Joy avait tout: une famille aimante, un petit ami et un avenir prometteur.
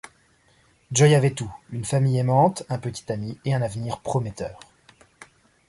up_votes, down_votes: 2, 0